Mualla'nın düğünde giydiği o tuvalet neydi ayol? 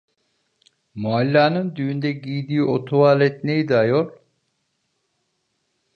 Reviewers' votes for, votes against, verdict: 2, 0, accepted